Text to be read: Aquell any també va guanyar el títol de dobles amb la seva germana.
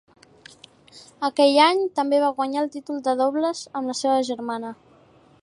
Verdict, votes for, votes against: accepted, 2, 0